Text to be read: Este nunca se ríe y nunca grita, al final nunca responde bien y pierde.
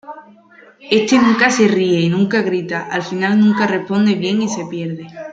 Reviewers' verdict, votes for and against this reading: rejected, 0, 2